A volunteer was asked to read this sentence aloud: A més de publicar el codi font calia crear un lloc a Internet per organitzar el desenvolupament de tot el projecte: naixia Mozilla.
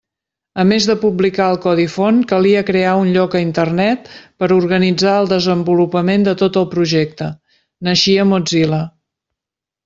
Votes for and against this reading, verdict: 3, 0, accepted